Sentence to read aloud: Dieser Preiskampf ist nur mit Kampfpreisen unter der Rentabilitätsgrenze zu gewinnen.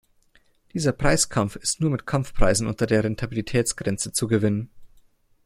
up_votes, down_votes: 1, 2